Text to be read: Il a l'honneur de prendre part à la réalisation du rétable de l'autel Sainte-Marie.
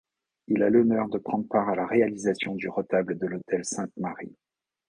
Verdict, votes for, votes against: accepted, 2, 0